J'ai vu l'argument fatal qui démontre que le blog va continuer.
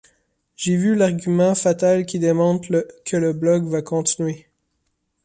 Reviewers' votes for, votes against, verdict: 0, 2, rejected